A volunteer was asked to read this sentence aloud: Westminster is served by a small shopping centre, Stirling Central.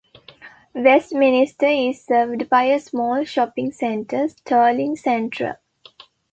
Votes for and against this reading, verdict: 2, 0, accepted